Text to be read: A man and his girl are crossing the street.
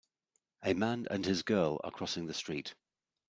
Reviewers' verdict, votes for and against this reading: accepted, 2, 0